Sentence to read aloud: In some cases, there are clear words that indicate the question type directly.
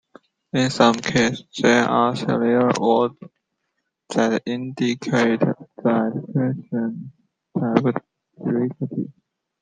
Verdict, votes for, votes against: rejected, 0, 2